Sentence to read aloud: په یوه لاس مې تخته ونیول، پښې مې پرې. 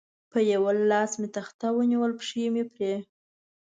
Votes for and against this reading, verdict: 2, 0, accepted